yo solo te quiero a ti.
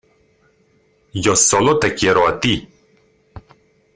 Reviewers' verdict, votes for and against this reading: accepted, 2, 0